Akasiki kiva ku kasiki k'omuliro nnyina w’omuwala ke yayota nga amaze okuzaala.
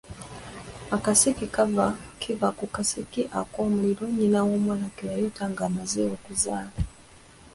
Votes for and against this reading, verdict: 1, 2, rejected